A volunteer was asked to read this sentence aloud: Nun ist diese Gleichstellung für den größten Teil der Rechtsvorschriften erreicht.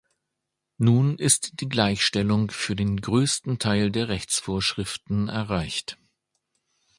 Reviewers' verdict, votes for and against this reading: rejected, 1, 2